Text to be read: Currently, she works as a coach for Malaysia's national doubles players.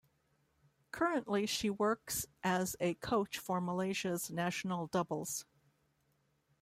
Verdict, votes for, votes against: rejected, 0, 2